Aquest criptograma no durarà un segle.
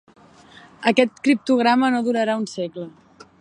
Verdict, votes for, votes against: accepted, 3, 0